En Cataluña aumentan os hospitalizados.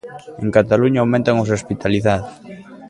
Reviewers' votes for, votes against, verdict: 2, 1, accepted